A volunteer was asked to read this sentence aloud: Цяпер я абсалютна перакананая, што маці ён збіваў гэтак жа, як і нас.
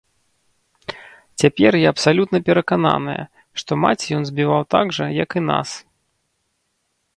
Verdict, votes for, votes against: rejected, 0, 2